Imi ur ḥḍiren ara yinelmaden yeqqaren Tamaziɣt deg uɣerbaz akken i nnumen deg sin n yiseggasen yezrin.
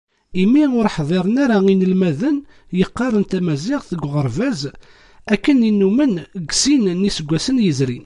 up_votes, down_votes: 2, 0